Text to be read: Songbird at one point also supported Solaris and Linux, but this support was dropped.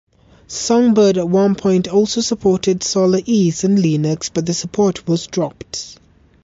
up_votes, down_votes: 1, 2